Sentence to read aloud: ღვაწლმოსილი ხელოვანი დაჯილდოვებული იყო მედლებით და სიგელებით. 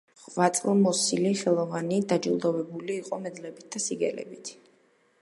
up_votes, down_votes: 2, 0